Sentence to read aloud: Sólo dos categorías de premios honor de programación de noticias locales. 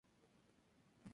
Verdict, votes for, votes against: rejected, 0, 2